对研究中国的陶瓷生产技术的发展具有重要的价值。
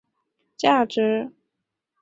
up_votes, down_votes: 0, 2